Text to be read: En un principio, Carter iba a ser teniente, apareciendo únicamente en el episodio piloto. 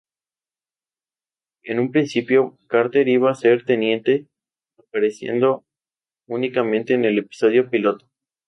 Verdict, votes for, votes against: accepted, 2, 0